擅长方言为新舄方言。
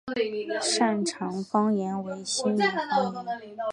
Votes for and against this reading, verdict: 6, 2, accepted